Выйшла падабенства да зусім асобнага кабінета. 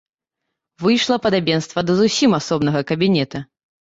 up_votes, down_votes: 2, 0